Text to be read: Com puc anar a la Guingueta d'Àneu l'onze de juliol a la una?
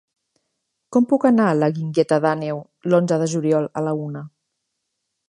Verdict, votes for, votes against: accepted, 4, 0